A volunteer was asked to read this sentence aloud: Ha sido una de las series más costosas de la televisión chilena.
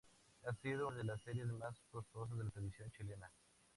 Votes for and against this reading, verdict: 2, 0, accepted